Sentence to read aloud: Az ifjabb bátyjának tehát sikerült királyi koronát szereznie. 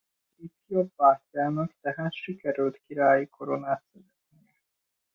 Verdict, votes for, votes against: rejected, 0, 2